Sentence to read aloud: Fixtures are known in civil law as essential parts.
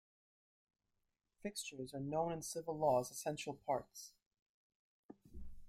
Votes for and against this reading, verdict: 0, 2, rejected